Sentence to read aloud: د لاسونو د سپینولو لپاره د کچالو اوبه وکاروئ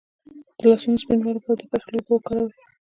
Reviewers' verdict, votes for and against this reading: rejected, 0, 2